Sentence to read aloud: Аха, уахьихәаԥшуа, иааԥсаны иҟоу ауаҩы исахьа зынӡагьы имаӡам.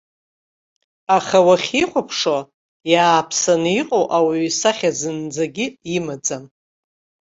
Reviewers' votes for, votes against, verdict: 1, 2, rejected